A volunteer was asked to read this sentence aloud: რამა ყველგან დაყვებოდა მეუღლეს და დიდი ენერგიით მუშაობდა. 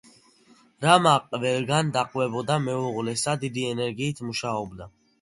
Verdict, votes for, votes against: accepted, 2, 1